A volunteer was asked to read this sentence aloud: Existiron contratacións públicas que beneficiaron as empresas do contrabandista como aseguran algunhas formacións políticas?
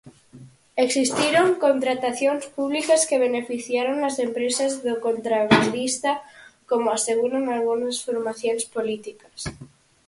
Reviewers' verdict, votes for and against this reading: accepted, 4, 0